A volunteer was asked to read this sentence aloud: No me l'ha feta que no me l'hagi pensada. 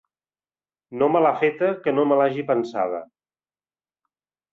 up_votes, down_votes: 4, 0